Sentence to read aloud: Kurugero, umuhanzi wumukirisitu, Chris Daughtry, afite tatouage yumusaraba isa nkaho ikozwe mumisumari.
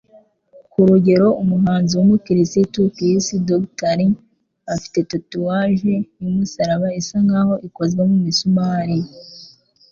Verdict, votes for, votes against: accepted, 2, 0